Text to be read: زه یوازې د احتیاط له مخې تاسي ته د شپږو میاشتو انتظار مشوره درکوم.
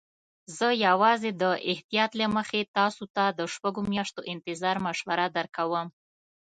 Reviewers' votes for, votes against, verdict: 2, 0, accepted